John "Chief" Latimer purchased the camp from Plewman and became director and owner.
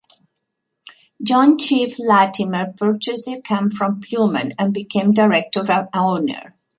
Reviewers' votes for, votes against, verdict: 1, 2, rejected